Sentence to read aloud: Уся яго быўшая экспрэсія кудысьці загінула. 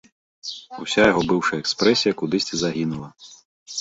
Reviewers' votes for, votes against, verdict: 0, 2, rejected